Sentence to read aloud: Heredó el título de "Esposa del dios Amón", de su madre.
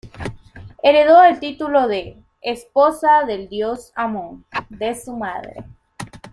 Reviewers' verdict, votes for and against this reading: accepted, 2, 0